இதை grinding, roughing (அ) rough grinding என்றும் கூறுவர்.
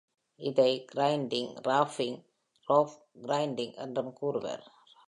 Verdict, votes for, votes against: accepted, 2, 0